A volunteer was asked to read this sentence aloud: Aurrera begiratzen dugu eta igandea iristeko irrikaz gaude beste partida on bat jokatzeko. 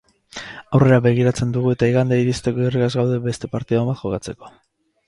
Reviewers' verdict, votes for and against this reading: rejected, 2, 2